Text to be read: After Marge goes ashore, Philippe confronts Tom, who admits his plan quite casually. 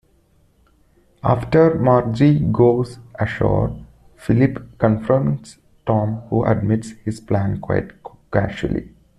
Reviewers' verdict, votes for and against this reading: rejected, 1, 2